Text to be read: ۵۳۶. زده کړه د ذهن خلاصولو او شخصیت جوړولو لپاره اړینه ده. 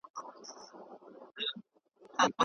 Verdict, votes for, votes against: rejected, 0, 2